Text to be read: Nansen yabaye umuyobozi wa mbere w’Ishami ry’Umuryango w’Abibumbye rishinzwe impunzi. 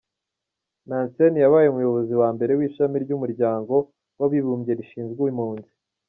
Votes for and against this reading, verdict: 1, 2, rejected